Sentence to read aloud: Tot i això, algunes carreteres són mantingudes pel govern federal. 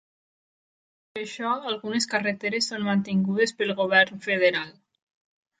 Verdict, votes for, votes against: rejected, 1, 2